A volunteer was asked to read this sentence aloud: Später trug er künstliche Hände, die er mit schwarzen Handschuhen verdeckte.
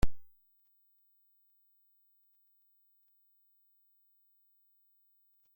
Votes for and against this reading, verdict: 0, 2, rejected